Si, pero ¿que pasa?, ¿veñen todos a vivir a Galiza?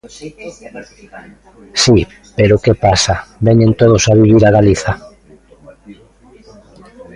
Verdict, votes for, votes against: rejected, 1, 2